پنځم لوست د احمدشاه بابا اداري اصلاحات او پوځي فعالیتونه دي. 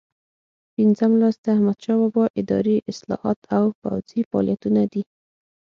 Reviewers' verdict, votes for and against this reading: accepted, 6, 0